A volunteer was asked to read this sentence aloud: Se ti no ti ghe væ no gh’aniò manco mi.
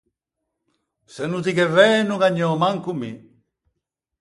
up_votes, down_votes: 0, 4